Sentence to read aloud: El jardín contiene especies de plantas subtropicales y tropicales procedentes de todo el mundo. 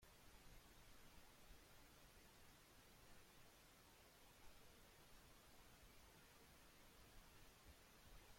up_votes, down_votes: 0, 2